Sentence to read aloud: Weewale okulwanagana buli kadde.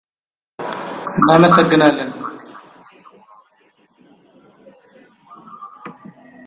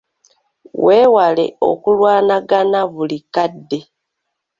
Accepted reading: second